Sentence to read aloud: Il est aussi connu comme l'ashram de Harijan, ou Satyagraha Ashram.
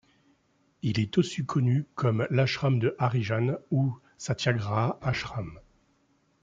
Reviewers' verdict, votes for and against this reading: rejected, 0, 2